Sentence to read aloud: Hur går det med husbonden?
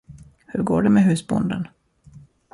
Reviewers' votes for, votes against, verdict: 0, 2, rejected